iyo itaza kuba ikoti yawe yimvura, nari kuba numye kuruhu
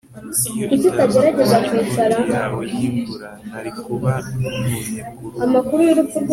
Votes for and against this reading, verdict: 2, 0, accepted